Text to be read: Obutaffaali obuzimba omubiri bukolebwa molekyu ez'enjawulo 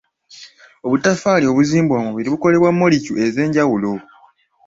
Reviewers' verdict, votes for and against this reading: rejected, 1, 2